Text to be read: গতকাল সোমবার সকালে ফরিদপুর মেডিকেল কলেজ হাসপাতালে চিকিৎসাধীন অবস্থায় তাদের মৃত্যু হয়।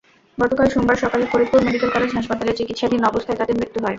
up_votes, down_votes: 2, 0